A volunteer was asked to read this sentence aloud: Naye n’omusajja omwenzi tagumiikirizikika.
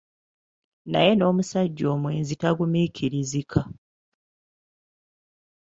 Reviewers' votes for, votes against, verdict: 1, 2, rejected